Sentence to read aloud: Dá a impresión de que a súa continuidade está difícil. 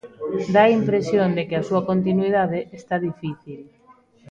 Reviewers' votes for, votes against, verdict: 1, 2, rejected